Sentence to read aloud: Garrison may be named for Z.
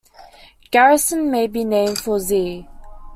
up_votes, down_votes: 1, 2